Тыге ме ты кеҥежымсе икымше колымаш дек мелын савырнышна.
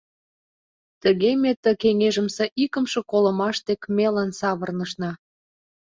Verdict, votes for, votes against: accepted, 2, 0